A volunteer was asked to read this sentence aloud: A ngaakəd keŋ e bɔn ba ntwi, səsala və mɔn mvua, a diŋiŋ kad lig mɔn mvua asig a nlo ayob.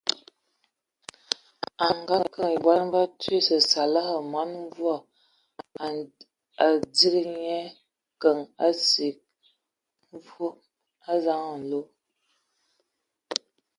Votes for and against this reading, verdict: 0, 2, rejected